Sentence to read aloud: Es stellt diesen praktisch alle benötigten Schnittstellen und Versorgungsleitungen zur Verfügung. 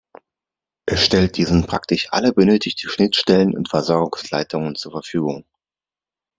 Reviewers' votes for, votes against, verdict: 2, 0, accepted